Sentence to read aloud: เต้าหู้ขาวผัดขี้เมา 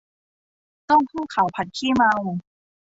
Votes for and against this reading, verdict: 2, 0, accepted